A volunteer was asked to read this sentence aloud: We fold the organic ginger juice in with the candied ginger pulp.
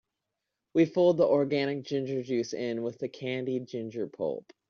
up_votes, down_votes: 3, 0